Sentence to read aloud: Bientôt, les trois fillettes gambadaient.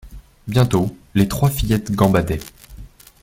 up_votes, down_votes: 2, 0